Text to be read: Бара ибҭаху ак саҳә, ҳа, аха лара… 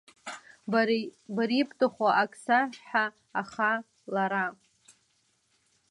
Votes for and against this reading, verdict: 0, 2, rejected